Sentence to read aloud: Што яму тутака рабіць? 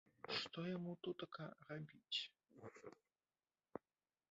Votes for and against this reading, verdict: 1, 3, rejected